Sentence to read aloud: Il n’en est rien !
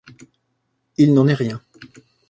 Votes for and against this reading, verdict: 2, 0, accepted